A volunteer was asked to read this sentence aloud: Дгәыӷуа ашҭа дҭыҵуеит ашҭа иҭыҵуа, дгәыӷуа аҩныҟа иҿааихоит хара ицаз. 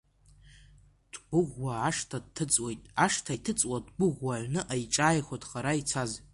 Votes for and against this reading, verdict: 2, 0, accepted